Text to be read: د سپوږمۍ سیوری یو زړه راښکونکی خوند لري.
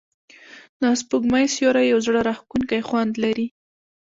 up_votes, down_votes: 1, 2